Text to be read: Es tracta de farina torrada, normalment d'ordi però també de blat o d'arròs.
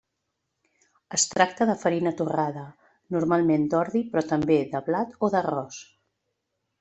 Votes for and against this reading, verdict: 2, 0, accepted